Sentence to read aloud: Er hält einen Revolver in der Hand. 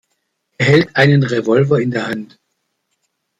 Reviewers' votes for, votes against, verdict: 2, 0, accepted